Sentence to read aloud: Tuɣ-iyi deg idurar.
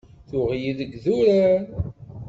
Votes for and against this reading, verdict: 2, 0, accepted